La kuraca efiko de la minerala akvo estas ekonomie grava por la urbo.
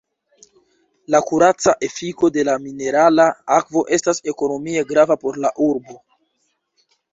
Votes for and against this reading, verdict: 2, 0, accepted